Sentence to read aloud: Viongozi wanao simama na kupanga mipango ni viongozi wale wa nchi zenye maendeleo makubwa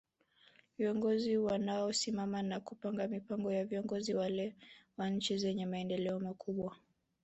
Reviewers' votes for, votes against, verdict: 4, 0, accepted